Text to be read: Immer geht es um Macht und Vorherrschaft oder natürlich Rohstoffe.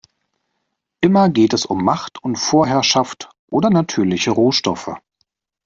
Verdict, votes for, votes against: rejected, 0, 2